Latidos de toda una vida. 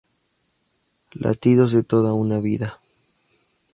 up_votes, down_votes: 2, 0